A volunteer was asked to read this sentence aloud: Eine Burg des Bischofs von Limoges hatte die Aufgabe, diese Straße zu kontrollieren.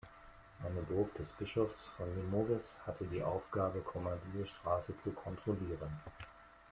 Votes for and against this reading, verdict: 2, 0, accepted